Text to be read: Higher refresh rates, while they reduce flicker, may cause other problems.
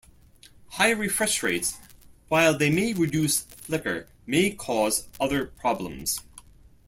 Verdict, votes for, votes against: rejected, 0, 2